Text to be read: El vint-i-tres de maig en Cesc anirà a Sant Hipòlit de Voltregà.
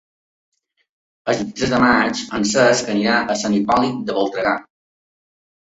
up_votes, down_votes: 2, 1